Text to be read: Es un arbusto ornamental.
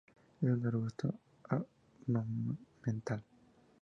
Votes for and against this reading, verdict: 2, 2, rejected